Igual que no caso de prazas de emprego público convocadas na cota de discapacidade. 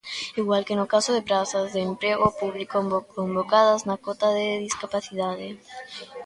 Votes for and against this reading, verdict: 0, 2, rejected